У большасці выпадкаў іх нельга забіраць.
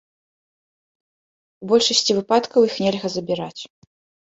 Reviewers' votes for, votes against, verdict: 0, 2, rejected